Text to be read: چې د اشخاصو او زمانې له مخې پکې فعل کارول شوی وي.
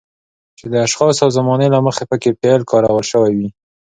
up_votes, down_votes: 2, 0